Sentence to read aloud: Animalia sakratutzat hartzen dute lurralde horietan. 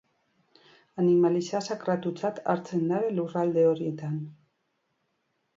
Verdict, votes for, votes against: rejected, 0, 2